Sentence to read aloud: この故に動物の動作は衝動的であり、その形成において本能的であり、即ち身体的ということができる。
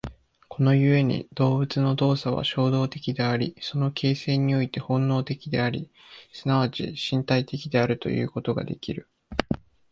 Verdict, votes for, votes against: rejected, 1, 2